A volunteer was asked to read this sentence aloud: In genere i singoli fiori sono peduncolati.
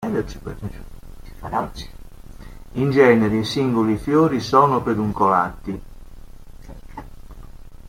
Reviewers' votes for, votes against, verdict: 1, 2, rejected